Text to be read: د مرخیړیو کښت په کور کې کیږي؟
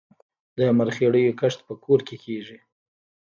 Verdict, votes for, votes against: rejected, 1, 2